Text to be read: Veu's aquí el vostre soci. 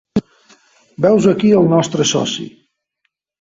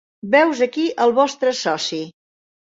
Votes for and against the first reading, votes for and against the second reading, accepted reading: 1, 2, 2, 0, second